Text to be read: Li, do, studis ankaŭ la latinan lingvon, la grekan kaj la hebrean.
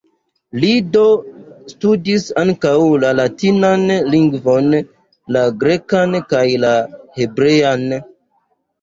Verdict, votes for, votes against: accepted, 2, 1